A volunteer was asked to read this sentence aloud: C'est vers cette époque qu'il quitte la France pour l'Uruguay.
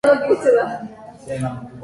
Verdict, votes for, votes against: rejected, 0, 2